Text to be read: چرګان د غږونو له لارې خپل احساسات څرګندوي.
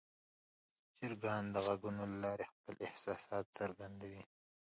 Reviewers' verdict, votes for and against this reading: accepted, 2, 0